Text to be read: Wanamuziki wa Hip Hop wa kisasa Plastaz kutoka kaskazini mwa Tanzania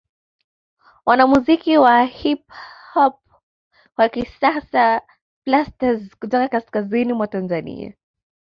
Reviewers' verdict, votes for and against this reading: rejected, 1, 2